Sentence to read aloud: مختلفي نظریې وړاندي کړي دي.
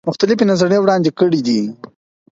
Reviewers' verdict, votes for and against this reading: accepted, 4, 0